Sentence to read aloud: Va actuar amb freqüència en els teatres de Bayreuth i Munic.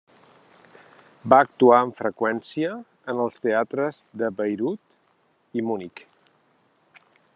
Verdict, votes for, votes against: accepted, 2, 0